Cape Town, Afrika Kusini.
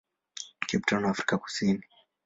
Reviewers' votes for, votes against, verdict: 2, 0, accepted